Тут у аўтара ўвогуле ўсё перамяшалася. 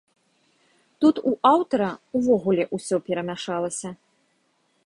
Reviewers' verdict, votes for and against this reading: accepted, 2, 0